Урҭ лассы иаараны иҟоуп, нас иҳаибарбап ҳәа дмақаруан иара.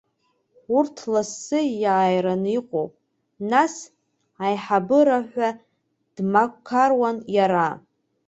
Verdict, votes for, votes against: accepted, 2, 1